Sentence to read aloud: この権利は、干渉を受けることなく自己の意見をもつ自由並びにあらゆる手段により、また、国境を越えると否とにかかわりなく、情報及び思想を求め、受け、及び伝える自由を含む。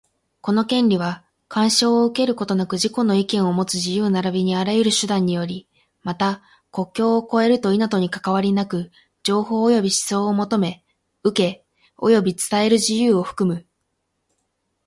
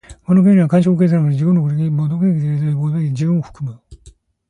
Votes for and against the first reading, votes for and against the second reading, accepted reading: 8, 4, 0, 2, first